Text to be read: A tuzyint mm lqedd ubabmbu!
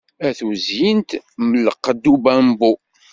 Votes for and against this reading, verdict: 2, 0, accepted